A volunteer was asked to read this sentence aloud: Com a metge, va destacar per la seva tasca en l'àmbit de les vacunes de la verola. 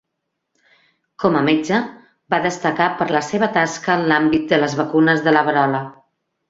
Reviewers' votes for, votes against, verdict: 2, 0, accepted